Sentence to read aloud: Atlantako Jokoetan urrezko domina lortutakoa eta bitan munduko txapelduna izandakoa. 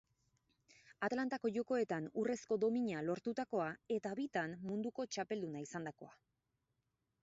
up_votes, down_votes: 4, 0